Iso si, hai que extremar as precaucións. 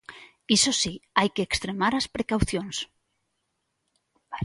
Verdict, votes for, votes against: accepted, 2, 0